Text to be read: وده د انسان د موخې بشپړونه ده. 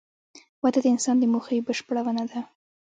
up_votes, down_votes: 1, 2